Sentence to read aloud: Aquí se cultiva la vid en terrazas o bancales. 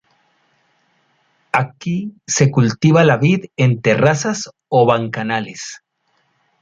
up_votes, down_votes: 0, 2